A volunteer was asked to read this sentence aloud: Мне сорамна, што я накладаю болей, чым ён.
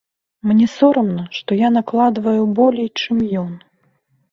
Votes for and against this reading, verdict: 1, 2, rejected